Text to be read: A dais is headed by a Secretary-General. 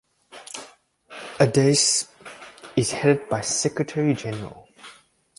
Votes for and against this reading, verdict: 0, 2, rejected